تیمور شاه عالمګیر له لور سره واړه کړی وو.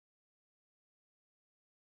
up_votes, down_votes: 0, 2